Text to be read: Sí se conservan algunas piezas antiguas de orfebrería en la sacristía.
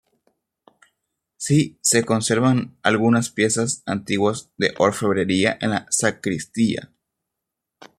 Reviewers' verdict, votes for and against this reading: accepted, 2, 1